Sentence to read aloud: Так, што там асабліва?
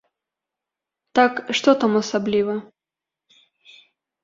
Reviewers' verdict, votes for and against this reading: accepted, 2, 0